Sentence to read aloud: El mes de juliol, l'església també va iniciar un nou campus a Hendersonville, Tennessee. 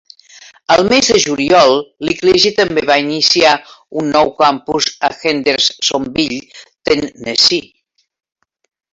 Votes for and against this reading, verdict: 2, 3, rejected